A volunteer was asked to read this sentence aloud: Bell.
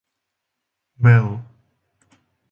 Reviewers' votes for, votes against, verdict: 2, 0, accepted